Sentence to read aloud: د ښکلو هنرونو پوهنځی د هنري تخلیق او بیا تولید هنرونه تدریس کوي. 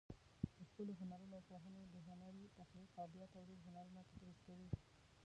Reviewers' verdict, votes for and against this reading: rejected, 0, 2